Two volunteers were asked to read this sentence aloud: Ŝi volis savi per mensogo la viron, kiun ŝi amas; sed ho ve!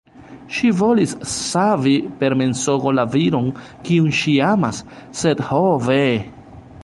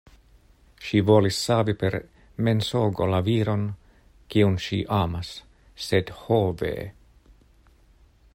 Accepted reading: second